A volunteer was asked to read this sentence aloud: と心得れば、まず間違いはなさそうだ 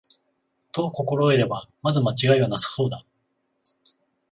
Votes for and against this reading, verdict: 21, 0, accepted